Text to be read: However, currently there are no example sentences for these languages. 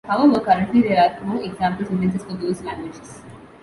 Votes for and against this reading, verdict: 0, 2, rejected